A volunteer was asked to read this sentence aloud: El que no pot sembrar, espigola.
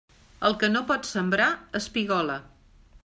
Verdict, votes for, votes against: accepted, 3, 0